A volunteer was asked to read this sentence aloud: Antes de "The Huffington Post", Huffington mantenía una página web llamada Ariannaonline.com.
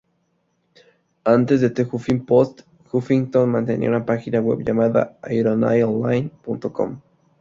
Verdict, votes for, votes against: rejected, 0, 2